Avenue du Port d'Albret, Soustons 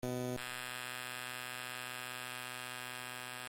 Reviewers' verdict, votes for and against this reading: rejected, 0, 2